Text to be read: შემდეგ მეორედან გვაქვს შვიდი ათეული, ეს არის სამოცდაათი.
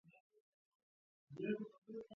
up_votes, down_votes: 2, 1